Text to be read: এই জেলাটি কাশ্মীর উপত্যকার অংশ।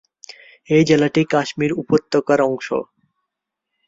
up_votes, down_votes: 3, 0